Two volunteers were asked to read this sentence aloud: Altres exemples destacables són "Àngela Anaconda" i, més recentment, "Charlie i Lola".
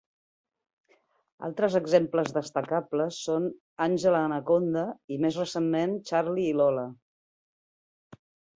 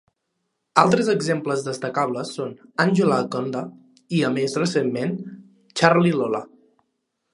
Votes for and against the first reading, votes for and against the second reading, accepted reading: 2, 1, 0, 2, first